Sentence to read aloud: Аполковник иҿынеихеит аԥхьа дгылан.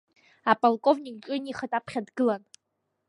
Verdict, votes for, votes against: accepted, 2, 0